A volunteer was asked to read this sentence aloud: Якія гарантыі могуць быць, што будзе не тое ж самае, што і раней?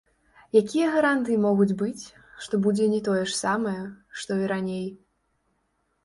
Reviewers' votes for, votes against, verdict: 0, 3, rejected